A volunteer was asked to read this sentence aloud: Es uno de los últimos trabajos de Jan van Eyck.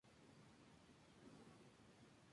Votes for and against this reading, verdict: 0, 2, rejected